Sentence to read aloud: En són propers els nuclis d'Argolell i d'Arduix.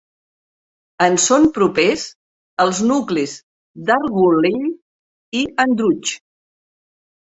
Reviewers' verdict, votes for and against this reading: rejected, 2, 3